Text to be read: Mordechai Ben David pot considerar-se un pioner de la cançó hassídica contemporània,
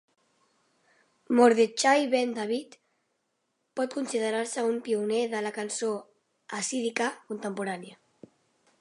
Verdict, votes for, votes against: rejected, 1, 3